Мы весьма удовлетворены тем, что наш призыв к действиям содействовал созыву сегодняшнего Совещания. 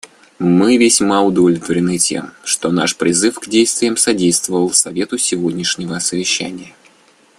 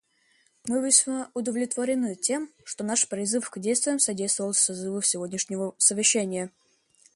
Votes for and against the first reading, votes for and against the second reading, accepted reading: 0, 2, 2, 0, second